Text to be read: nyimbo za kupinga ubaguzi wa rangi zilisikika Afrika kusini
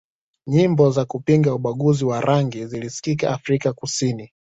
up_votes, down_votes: 2, 0